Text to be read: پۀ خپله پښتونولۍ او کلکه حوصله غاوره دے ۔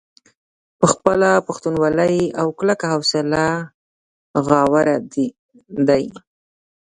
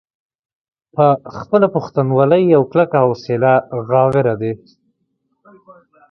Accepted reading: second